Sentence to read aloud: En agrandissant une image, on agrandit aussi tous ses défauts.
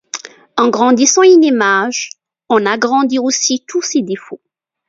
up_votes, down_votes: 1, 2